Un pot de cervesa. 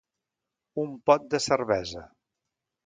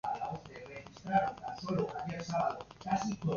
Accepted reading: first